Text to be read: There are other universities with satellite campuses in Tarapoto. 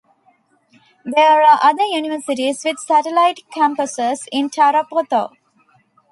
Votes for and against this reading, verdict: 2, 0, accepted